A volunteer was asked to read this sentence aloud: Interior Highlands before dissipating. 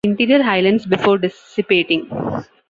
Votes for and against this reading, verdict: 2, 1, accepted